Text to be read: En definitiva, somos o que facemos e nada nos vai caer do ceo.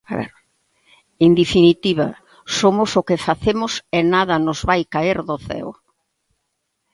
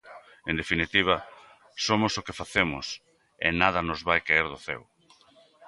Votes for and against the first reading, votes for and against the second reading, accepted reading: 1, 2, 2, 0, second